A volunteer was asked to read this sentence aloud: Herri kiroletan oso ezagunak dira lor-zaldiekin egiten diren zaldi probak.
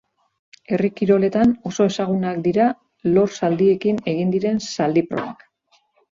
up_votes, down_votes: 0, 2